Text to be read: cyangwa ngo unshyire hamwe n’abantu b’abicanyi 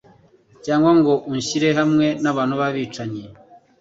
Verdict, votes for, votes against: accepted, 2, 0